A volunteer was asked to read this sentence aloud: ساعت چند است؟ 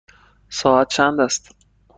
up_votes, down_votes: 2, 0